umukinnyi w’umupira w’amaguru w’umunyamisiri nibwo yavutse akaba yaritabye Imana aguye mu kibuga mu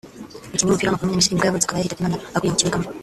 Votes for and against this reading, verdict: 0, 2, rejected